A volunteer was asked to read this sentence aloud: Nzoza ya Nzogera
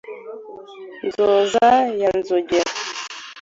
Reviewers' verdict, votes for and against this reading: accepted, 2, 0